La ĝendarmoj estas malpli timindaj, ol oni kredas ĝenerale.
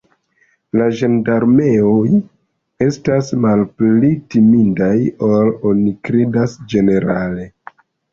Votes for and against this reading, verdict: 1, 2, rejected